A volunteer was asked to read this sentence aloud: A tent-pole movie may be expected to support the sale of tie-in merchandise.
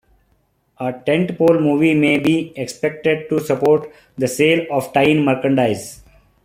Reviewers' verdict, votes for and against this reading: accepted, 2, 0